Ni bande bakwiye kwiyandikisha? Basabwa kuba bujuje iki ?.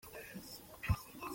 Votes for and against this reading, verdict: 0, 2, rejected